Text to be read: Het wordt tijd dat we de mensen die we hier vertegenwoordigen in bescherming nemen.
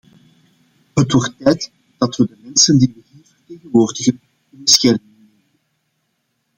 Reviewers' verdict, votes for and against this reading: rejected, 0, 2